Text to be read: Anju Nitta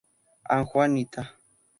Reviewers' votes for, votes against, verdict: 2, 2, rejected